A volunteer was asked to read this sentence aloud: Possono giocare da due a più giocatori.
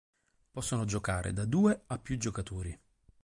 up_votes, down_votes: 2, 2